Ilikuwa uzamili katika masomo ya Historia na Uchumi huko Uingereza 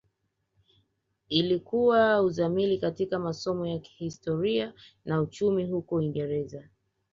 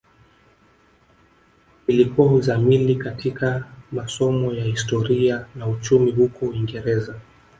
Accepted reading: first